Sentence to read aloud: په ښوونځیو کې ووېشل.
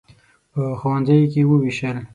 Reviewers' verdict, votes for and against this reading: accepted, 6, 0